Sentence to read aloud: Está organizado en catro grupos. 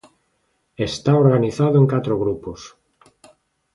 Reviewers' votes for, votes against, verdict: 3, 0, accepted